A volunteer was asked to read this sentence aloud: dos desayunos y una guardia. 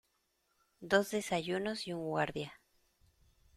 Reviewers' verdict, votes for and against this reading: rejected, 0, 2